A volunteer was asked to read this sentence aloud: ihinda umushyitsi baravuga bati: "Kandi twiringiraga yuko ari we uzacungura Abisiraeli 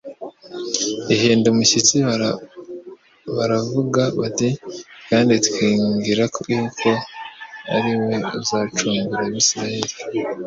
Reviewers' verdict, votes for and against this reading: rejected, 1, 2